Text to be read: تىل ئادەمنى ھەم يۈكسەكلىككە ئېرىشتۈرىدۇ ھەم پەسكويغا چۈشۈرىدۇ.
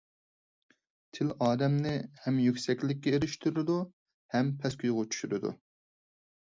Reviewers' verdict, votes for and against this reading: accepted, 4, 0